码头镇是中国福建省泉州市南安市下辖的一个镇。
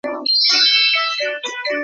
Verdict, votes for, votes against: rejected, 0, 3